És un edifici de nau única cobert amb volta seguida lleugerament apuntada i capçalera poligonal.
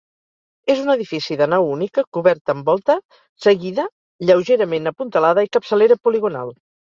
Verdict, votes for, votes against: rejected, 0, 4